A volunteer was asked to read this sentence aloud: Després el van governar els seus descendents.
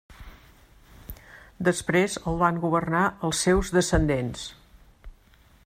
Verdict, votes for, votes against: accepted, 3, 0